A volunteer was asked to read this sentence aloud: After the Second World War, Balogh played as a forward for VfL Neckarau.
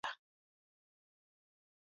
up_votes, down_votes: 0, 2